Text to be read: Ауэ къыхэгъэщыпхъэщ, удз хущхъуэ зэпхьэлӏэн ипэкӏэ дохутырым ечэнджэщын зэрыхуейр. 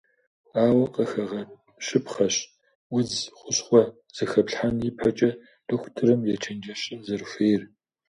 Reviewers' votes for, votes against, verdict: 0, 2, rejected